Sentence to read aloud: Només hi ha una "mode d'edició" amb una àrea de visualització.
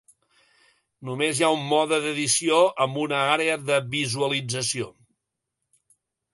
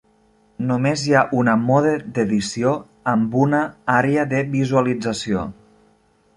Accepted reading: second